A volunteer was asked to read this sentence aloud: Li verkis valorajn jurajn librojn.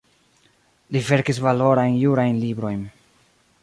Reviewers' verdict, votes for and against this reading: accepted, 2, 0